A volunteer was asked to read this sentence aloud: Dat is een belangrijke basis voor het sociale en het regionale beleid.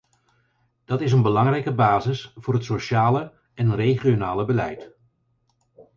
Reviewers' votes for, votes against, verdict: 4, 0, accepted